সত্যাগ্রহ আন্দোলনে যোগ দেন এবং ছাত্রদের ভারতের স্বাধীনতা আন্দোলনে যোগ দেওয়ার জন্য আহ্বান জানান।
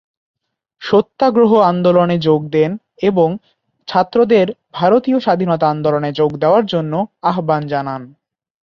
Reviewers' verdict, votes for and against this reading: rejected, 0, 2